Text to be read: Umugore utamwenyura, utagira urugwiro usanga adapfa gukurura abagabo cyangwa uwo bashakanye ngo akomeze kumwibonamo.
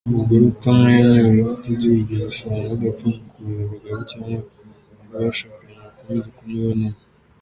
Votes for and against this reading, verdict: 1, 2, rejected